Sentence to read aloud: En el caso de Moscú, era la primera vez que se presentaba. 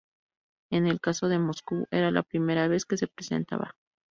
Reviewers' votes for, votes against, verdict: 2, 0, accepted